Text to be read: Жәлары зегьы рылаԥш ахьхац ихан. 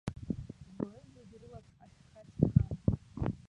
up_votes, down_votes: 0, 2